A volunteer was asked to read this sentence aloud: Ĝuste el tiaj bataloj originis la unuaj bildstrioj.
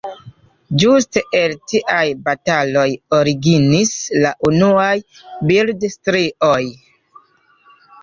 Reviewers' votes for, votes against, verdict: 2, 1, accepted